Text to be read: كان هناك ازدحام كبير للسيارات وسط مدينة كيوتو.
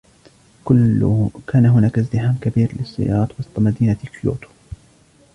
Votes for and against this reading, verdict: 0, 2, rejected